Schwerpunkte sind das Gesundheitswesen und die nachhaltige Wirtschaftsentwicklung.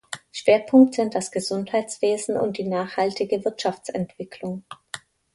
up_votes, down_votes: 1, 2